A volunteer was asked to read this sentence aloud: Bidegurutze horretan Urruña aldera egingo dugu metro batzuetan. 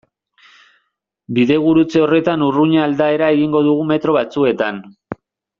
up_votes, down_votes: 0, 2